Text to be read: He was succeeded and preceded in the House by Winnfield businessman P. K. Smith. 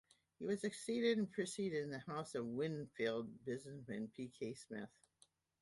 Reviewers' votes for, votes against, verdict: 0, 2, rejected